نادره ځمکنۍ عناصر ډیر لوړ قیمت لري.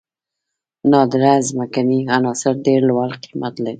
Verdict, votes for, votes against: rejected, 1, 2